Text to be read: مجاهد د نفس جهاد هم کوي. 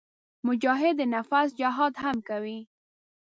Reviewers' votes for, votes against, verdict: 1, 2, rejected